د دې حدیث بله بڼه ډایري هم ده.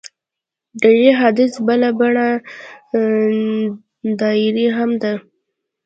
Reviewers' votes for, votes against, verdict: 2, 0, accepted